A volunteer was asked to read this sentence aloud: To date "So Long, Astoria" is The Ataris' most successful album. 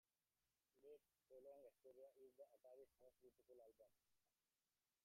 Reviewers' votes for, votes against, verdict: 0, 3, rejected